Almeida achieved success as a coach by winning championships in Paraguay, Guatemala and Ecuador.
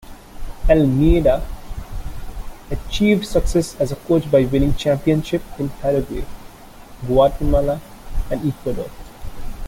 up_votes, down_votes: 2, 1